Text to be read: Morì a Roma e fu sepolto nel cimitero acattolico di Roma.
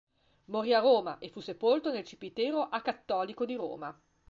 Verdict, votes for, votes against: accepted, 2, 0